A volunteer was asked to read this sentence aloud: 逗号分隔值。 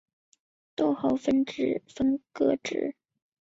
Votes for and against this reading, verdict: 1, 2, rejected